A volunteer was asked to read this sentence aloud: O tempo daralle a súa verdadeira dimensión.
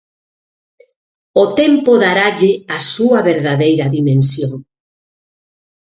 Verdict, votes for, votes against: accepted, 6, 0